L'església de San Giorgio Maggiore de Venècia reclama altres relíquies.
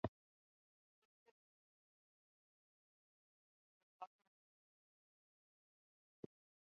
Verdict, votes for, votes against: rejected, 0, 2